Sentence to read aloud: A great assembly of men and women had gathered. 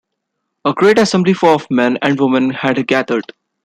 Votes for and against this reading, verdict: 2, 1, accepted